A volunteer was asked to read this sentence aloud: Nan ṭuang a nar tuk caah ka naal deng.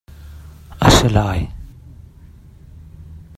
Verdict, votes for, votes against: rejected, 0, 2